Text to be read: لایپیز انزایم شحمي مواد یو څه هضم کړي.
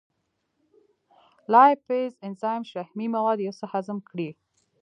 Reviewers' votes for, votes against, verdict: 0, 2, rejected